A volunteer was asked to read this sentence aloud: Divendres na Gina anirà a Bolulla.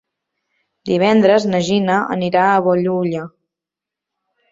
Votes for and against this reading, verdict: 0, 2, rejected